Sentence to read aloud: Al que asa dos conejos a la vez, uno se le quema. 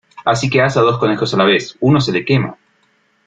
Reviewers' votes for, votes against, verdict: 0, 2, rejected